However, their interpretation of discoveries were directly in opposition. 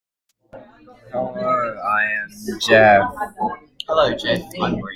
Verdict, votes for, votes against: rejected, 0, 2